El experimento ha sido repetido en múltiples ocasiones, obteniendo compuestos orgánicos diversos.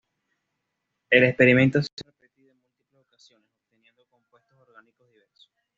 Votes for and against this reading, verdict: 1, 2, rejected